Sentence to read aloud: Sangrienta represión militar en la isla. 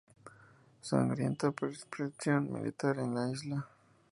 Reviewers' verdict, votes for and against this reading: rejected, 0, 2